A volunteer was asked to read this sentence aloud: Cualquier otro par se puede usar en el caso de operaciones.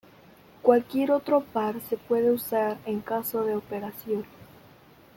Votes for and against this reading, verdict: 1, 2, rejected